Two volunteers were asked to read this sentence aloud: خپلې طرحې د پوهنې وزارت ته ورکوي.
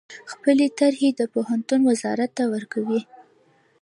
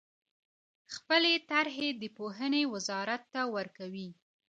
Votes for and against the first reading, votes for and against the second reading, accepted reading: 1, 2, 2, 0, second